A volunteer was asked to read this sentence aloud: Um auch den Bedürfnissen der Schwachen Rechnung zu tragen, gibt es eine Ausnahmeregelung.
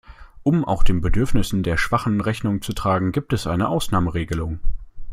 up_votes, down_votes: 2, 0